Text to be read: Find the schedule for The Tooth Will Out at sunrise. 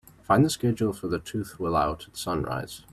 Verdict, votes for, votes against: accepted, 2, 1